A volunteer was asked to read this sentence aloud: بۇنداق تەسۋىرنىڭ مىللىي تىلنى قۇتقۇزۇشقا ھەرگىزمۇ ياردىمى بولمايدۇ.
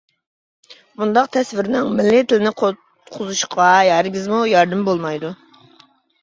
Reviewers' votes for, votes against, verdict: 1, 2, rejected